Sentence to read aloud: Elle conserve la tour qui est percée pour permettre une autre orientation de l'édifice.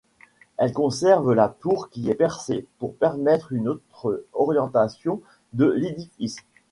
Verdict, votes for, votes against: accepted, 2, 0